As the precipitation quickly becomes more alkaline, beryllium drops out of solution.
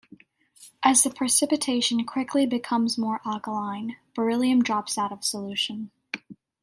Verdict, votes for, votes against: accepted, 2, 0